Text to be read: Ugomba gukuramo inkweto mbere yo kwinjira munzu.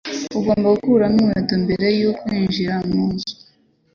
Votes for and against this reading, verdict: 2, 0, accepted